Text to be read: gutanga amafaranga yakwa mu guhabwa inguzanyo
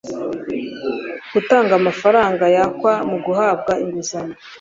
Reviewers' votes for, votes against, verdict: 2, 0, accepted